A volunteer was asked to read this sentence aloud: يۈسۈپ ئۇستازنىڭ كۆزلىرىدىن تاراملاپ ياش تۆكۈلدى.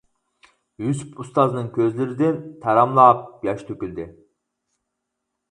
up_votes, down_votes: 4, 0